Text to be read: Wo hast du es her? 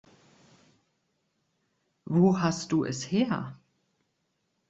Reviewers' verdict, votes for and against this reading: accepted, 2, 0